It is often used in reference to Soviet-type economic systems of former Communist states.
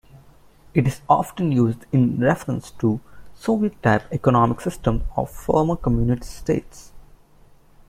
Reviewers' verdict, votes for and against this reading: accepted, 2, 1